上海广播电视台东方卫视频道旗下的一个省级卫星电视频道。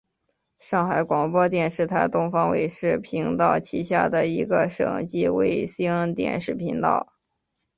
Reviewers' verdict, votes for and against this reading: accepted, 7, 0